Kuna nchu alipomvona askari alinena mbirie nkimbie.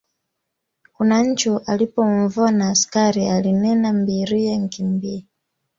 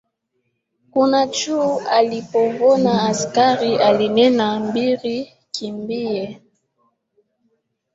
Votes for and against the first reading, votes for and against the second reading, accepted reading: 2, 0, 2, 3, first